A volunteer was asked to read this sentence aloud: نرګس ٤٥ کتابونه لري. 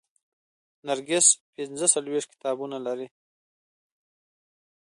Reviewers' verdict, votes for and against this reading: rejected, 0, 2